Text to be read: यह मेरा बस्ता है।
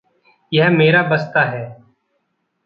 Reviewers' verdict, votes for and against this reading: accepted, 2, 0